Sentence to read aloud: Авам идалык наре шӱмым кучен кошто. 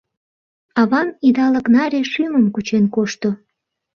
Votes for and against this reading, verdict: 2, 0, accepted